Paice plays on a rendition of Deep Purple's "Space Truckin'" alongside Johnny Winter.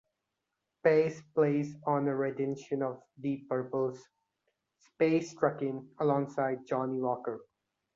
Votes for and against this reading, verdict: 0, 2, rejected